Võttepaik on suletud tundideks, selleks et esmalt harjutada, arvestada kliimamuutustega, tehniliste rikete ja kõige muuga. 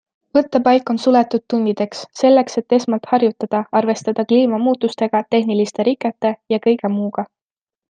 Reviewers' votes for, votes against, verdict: 2, 0, accepted